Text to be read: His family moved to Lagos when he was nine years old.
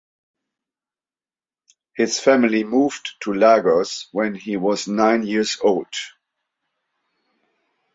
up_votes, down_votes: 2, 0